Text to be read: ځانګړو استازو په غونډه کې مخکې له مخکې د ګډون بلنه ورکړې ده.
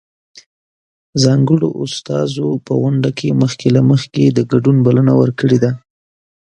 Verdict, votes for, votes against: rejected, 0, 2